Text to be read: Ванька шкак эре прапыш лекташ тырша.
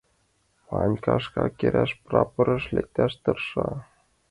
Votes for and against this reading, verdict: 1, 3, rejected